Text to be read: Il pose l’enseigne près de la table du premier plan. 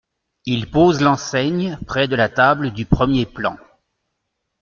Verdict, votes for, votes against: accepted, 2, 0